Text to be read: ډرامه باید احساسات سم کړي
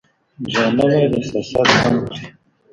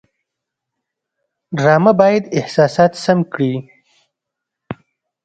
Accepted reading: second